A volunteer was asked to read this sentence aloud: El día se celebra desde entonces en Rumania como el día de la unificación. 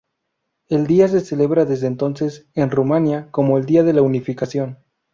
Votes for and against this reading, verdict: 2, 0, accepted